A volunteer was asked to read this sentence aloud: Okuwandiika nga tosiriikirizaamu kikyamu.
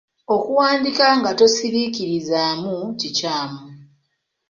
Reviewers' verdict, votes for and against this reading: rejected, 1, 2